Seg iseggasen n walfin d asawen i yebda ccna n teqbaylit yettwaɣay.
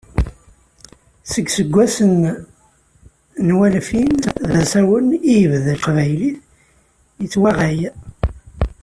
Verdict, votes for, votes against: rejected, 0, 2